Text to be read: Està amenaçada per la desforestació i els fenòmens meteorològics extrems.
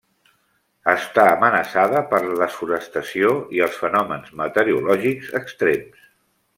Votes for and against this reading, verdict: 0, 2, rejected